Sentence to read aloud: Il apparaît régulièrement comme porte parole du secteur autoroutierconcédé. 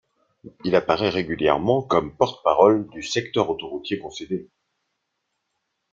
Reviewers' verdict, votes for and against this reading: accepted, 2, 0